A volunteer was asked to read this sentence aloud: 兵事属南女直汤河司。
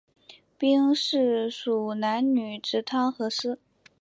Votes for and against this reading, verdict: 3, 0, accepted